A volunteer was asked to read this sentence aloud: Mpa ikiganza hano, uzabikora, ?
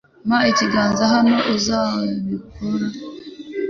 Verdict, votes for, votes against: rejected, 0, 2